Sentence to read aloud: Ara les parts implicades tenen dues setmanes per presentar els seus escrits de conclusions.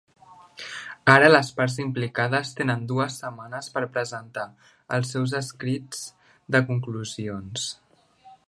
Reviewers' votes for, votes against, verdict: 2, 0, accepted